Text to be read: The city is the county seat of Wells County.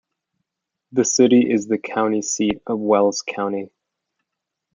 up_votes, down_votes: 2, 0